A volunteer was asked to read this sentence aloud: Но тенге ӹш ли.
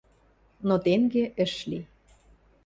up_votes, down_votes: 2, 0